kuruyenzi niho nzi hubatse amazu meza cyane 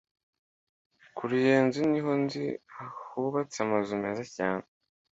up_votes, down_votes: 2, 0